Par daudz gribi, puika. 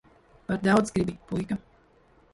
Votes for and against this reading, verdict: 1, 2, rejected